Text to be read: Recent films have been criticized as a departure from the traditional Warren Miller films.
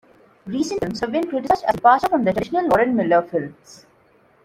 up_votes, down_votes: 0, 2